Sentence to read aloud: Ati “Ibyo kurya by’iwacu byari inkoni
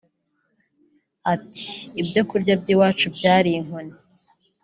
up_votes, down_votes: 2, 0